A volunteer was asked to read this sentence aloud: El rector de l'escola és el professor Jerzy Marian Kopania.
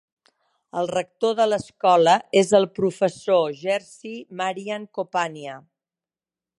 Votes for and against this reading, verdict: 2, 0, accepted